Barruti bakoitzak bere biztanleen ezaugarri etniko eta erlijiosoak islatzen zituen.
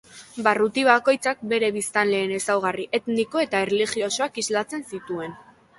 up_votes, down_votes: 1, 2